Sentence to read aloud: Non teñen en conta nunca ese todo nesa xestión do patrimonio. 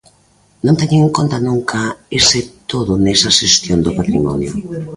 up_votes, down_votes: 2, 0